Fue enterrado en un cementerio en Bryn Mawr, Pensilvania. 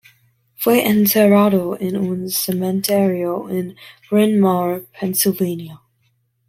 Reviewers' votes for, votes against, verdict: 2, 1, accepted